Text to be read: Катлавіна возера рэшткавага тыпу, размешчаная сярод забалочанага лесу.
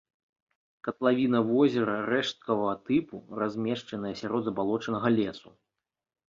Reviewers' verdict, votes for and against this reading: accepted, 2, 0